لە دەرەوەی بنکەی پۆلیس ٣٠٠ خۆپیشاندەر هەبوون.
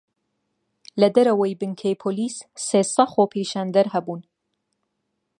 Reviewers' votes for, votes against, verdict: 0, 2, rejected